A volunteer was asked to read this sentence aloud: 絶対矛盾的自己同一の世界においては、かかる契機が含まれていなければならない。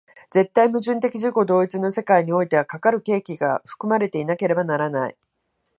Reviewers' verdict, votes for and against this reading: accepted, 2, 0